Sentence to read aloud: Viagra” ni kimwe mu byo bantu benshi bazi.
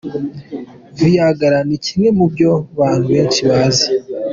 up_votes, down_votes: 2, 1